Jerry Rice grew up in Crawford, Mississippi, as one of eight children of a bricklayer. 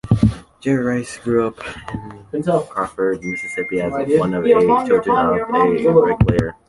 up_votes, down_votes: 1, 2